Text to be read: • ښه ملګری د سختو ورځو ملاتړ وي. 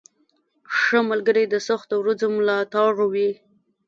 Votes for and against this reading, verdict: 1, 2, rejected